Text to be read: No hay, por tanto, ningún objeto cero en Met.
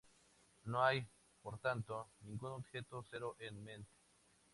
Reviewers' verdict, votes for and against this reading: accepted, 2, 0